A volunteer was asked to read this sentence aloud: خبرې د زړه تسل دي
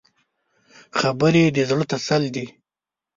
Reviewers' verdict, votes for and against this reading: rejected, 1, 2